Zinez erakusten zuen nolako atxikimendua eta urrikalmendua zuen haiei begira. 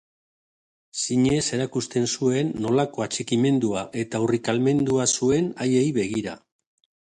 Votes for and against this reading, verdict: 2, 0, accepted